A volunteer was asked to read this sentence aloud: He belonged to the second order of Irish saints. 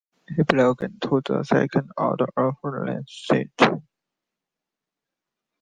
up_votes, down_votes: 0, 2